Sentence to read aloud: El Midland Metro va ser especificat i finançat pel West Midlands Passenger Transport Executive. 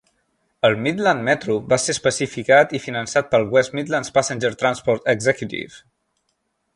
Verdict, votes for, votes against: accepted, 3, 0